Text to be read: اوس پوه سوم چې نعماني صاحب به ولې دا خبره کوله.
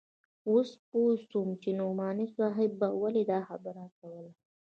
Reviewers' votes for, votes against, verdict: 1, 2, rejected